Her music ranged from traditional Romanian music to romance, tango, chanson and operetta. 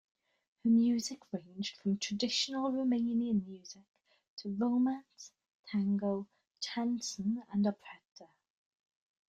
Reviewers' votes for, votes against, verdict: 2, 1, accepted